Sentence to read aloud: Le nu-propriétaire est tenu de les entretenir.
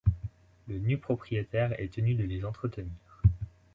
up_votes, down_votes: 2, 0